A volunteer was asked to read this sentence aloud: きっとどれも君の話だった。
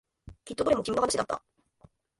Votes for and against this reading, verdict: 3, 4, rejected